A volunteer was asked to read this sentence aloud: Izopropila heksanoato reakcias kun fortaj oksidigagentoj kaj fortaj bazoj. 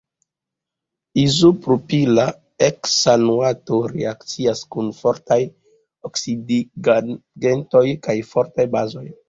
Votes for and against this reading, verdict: 1, 2, rejected